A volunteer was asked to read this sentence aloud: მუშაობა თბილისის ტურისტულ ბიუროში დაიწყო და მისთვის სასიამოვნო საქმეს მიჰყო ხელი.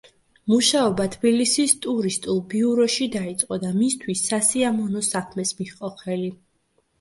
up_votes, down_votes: 2, 0